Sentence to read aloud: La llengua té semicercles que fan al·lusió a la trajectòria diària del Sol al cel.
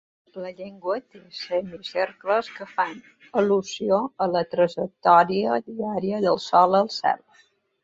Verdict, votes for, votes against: accepted, 3, 0